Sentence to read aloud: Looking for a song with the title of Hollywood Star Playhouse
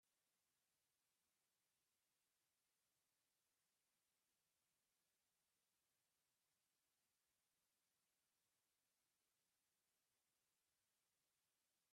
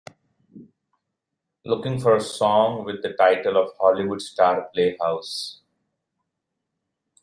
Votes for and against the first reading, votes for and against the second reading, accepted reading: 0, 2, 2, 0, second